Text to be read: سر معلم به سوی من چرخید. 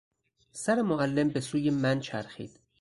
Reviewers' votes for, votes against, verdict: 4, 0, accepted